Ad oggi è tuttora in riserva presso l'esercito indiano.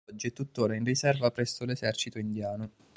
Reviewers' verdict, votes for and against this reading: rejected, 0, 2